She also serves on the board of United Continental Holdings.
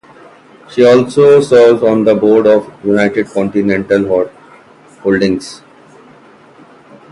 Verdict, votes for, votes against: rejected, 0, 2